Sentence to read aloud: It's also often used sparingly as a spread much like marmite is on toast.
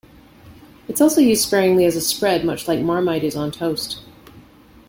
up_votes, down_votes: 1, 2